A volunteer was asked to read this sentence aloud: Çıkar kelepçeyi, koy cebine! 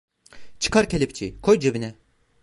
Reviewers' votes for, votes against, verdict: 2, 0, accepted